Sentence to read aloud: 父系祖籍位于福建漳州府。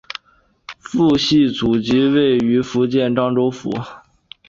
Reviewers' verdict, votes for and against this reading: accepted, 4, 0